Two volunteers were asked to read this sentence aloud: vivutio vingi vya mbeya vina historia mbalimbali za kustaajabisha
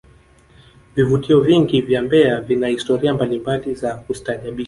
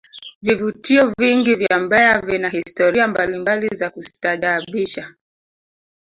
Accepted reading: first